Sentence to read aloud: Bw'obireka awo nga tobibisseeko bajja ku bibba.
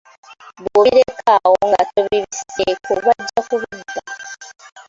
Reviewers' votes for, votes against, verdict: 2, 1, accepted